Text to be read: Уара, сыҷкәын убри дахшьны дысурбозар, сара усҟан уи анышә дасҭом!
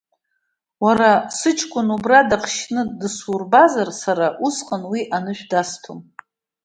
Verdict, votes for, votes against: rejected, 1, 2